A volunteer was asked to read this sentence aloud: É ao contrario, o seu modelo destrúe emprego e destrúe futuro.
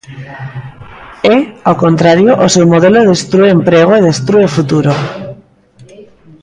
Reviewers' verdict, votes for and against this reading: rejected, 0, 2